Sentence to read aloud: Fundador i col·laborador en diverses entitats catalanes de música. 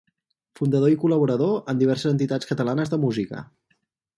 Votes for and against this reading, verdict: 4, 0, accepted